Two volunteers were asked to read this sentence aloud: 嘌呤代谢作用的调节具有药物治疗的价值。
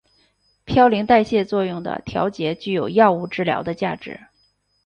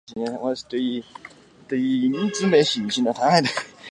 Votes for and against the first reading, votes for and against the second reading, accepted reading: 2, 0, 0, 2, first